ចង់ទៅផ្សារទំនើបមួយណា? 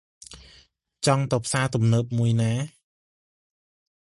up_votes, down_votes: 2, 0